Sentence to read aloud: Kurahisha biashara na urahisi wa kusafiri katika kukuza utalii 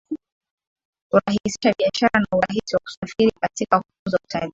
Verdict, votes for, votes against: accepted, 2, 0